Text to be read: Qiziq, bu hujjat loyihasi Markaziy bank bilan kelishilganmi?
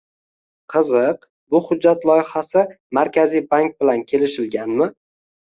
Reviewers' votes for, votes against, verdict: 2, 0, accepted